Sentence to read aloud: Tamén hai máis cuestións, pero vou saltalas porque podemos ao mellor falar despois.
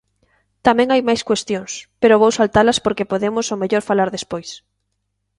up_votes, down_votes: 2, 0